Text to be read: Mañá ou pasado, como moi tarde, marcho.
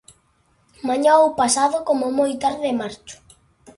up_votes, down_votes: 2, 0